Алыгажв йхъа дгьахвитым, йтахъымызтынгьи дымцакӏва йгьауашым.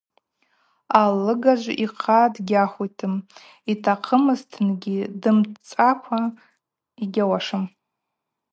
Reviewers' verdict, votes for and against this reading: accepted, 2, 0